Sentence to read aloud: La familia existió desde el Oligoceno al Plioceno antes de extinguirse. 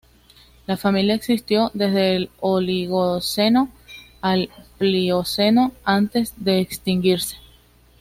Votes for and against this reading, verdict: 2, 0, accepted